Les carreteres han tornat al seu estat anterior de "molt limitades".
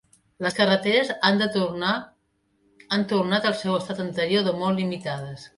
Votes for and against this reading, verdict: 0, 2, rejected